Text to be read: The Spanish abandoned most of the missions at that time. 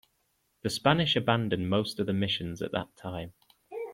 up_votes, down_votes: 2, 0